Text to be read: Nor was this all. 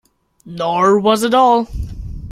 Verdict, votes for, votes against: rejected, 0, 2